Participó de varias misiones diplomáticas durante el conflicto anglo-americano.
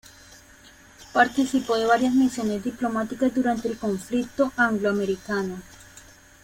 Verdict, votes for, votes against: accepted, 2, 0